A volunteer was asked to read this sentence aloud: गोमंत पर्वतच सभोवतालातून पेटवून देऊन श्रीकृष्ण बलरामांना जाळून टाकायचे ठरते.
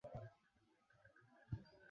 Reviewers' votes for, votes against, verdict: 0, 2, rejected